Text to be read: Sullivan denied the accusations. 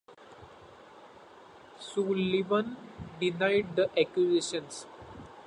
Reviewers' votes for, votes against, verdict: 0, 2, rejected